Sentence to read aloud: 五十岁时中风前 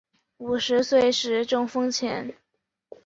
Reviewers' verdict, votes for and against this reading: accepted, 6, 0